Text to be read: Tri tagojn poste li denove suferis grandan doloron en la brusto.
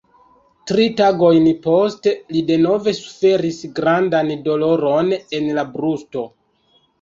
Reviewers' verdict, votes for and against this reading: rejected, 1, 2